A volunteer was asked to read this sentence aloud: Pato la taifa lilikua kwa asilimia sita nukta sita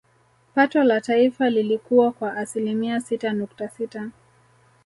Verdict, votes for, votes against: accepted, 3, 0